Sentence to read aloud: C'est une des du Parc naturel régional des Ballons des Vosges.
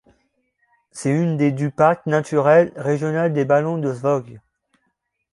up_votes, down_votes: 0, 2